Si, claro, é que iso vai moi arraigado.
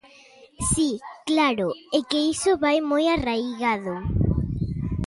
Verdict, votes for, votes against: accepted, 2, 0